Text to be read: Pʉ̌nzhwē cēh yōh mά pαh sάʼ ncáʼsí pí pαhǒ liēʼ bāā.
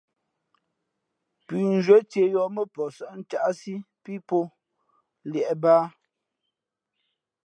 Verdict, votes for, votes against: accepted, 2, 0